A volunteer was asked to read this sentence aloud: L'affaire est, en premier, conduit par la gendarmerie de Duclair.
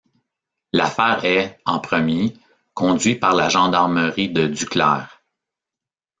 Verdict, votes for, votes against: rejected, 0, 2